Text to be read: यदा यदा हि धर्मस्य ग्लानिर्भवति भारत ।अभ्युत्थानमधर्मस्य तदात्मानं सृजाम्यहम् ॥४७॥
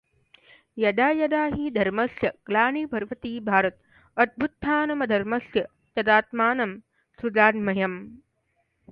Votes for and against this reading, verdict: 0, 2, rejected